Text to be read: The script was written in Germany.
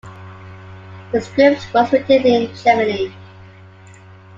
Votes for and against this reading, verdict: 2, 1, accepted